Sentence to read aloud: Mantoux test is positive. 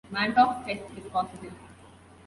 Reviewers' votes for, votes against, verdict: 2, 1, accepted